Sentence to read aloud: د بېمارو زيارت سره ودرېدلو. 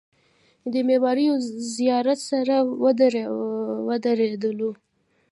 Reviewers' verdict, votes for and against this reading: rejected, 0, 2